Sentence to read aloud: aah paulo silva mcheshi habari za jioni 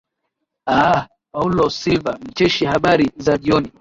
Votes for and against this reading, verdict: 8, 0, accepted